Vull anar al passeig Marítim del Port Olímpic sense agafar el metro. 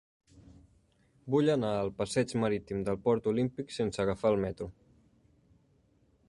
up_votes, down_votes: 3, 0